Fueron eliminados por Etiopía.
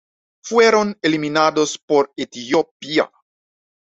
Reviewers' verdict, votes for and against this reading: accepted, 2, 0